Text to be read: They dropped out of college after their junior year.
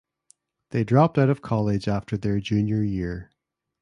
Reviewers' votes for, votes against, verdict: 2, 0, accepted